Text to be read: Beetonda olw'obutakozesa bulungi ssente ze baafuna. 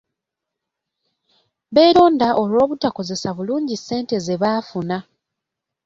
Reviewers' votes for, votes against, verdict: 1, 2, rejected